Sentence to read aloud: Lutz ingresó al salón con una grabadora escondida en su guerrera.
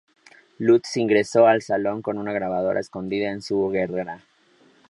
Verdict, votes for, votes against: accepted, 4, 0